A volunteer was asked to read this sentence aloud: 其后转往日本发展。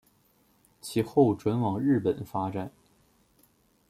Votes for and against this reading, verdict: 2, 1, accepted